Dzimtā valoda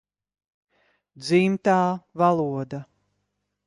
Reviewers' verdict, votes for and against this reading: accepted, 2, 0